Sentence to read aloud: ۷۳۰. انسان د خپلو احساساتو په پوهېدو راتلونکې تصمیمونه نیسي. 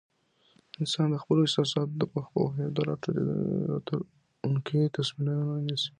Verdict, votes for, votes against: rejected, 0, 2